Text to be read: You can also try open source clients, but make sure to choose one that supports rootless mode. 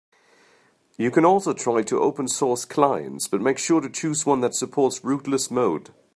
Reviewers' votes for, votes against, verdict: 1, 2, rejected